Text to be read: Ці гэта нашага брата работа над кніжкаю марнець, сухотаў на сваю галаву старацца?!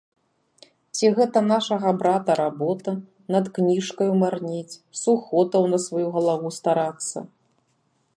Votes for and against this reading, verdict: 2, 0, accepted